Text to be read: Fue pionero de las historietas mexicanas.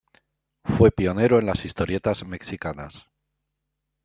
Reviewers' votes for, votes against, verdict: 2, 0, accepted